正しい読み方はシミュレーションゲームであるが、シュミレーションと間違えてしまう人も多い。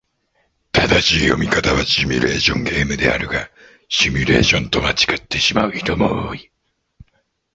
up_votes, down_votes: 1, 2